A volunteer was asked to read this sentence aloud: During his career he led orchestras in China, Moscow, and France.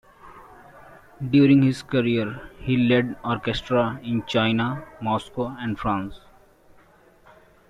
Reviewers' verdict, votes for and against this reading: rejected, 1, 2